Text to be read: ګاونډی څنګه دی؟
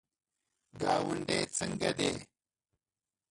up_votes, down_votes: 1, 2